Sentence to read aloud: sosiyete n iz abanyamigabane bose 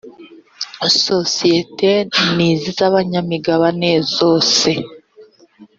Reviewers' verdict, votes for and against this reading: rejected, 1, 2